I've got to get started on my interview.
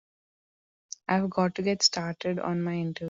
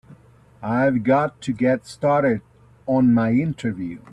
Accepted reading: second